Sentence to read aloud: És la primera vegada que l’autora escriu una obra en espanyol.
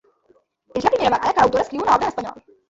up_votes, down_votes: 2, 1